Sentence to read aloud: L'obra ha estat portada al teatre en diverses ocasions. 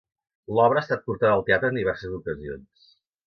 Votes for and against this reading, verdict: 0, 2, rejected